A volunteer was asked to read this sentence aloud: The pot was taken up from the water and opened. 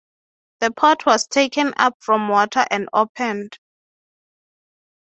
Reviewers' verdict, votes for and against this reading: accepted, 3, 0